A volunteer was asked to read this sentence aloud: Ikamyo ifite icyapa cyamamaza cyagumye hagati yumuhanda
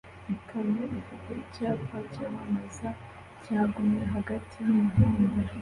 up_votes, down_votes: 1, 2